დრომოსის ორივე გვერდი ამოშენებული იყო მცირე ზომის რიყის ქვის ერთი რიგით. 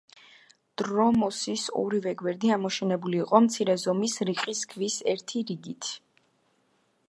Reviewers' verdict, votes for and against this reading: accepted, 2, 0